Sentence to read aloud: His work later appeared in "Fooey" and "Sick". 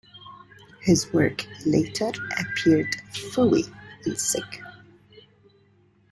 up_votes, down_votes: 2, 0